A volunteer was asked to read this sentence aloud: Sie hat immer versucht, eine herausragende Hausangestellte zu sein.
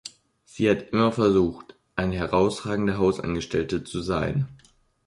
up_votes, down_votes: 2, 0